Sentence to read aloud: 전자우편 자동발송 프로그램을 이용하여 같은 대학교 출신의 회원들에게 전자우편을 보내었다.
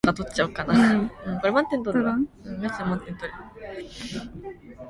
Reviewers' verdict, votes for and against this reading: rejected, 0, 2